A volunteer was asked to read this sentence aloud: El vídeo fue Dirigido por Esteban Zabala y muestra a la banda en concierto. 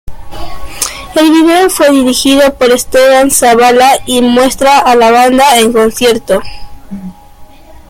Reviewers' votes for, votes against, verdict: 2, 0, accepted